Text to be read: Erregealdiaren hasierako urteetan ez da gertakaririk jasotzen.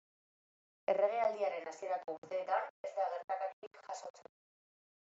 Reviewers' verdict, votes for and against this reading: accepted, 2, 1